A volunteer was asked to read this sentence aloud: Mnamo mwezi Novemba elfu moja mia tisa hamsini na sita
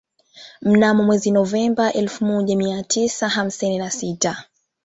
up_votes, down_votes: 2, 1